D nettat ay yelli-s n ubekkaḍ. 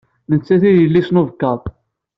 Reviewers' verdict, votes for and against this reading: accepted, 2, 0